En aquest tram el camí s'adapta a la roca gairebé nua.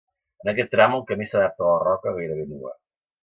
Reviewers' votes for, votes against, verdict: 2, 0, accepted